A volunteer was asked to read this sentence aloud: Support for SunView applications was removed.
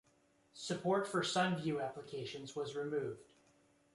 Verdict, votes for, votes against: accepted, 2, 1